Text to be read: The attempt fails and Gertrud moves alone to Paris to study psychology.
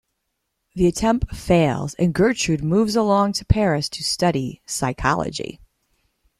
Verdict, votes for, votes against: accepted, 2, 0